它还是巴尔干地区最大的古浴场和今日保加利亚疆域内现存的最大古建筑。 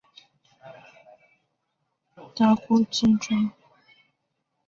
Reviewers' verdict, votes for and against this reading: rejected, 0, 2